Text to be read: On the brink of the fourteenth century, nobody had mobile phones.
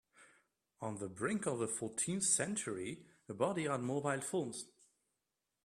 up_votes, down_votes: 1, 2